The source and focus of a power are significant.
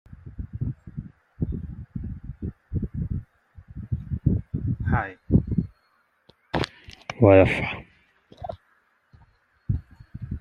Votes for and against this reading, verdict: 0, 2, rejected